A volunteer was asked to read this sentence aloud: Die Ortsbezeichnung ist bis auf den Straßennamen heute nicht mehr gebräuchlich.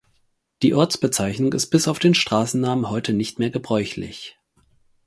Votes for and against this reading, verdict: 4, 0, accepted